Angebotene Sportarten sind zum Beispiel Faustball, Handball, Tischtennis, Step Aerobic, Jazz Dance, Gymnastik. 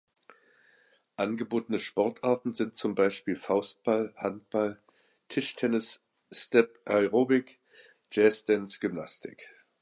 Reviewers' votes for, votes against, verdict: 2, 0, accepted